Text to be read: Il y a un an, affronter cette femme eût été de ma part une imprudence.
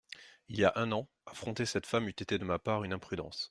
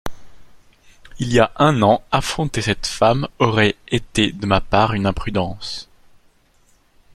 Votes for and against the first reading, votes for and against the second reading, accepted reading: 2, 0, 0, 2, first